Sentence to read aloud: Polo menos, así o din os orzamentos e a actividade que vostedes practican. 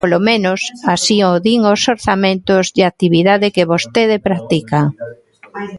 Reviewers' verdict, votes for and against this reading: rejected, 0, 2